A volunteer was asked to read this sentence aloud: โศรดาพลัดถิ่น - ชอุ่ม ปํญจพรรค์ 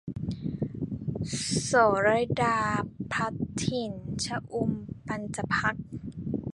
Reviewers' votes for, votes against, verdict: 2, 1, accepted